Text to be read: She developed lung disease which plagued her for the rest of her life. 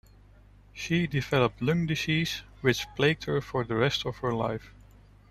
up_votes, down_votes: 1, 2